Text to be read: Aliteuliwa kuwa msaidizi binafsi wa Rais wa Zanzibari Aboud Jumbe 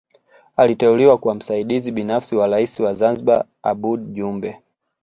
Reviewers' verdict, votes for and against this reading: accepted, 2, 0